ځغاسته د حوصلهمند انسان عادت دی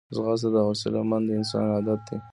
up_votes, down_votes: 2, 1